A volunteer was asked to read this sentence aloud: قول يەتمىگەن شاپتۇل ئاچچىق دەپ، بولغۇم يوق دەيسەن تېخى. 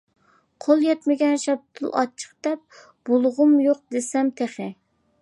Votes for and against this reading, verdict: 0, 2, rejected